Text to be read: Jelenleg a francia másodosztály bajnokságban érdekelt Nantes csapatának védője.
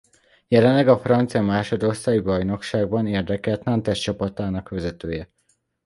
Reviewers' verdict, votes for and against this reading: rejected, 1, 2